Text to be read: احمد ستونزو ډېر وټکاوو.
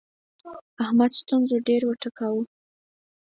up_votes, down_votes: 4, 0